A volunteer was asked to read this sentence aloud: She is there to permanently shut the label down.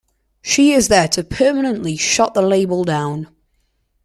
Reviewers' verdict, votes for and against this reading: accepted, 2, 0